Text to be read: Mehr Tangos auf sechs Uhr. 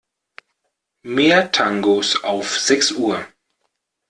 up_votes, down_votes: 2, 0